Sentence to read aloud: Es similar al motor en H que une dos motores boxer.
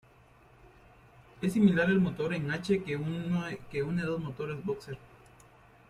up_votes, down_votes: 1, 2